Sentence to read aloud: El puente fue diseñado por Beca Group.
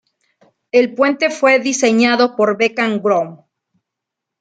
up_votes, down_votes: 1, 2